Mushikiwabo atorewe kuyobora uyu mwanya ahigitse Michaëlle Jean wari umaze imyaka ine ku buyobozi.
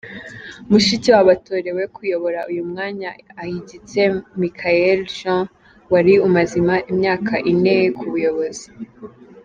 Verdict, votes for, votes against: rejected, 1, 2